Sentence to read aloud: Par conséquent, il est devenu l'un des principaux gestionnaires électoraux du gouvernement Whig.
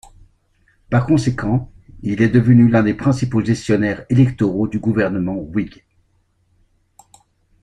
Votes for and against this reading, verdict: 2, 0, accepted